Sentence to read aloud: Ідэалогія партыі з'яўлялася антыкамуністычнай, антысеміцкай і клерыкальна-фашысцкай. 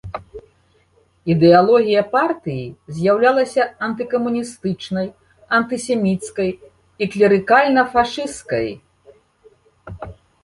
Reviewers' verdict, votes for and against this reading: rejected, 1, 2